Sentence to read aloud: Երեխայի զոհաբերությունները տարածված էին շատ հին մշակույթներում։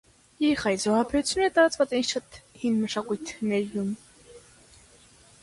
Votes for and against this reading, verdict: 0, 2, rejected